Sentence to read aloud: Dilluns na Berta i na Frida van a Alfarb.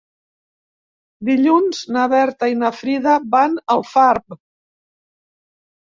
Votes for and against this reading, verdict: 1, 2, rejected